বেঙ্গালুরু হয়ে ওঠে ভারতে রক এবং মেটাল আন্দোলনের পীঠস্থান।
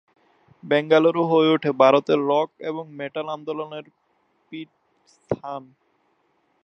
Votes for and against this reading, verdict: 1, 3, rejected